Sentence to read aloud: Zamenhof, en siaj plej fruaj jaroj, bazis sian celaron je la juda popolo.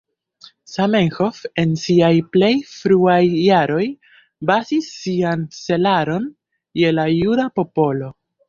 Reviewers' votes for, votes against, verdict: 1, 2, rejected